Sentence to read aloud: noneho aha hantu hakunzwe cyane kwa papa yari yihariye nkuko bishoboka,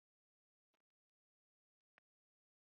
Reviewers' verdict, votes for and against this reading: rejected, 1, 2